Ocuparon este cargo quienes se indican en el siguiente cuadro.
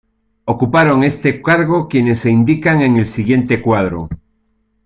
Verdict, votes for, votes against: accepted, 2, 0